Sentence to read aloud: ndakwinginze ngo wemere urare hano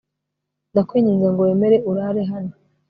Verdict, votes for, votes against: accepted, 2, 0